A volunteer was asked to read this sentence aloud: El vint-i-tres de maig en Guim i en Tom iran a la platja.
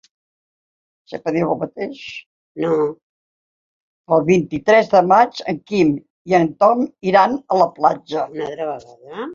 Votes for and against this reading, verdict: 0, 4, rejected